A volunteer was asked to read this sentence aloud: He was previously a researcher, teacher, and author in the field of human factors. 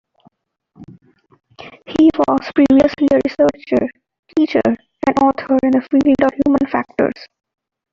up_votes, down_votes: 0, 2